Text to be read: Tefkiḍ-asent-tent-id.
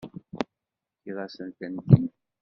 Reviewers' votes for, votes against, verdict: 2, 0, accepted